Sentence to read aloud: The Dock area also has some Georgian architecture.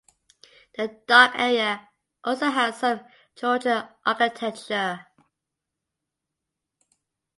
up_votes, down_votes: 2, 0